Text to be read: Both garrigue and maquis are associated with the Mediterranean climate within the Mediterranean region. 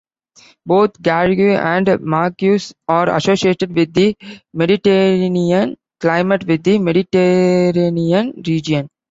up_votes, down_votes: 2, 0